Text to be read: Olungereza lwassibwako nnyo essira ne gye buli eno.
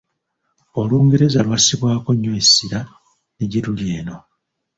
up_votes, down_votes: 0, 2